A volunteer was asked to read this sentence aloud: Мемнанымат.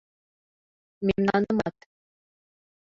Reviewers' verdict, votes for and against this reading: accepted, 2, 0